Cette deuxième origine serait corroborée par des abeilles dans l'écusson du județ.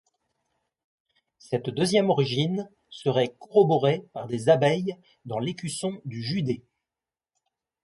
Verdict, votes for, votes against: accepted, 2, 0